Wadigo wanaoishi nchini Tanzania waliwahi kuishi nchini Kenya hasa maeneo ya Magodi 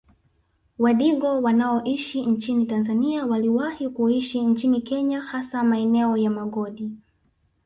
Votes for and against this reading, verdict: 1, 2, rejected